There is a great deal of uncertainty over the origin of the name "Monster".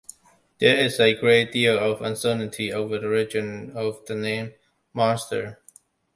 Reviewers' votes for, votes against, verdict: 2, 0, accepted